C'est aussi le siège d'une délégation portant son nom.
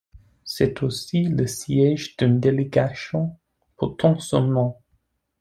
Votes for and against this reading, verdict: 0, 2, rejected